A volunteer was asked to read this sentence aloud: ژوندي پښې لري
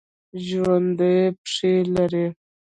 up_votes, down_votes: 0, 2